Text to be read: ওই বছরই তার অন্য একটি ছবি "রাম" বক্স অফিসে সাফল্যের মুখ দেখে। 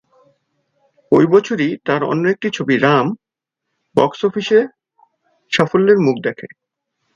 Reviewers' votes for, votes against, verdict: 2, 0, accepted